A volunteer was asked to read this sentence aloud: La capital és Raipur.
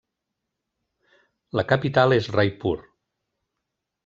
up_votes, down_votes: 3, 0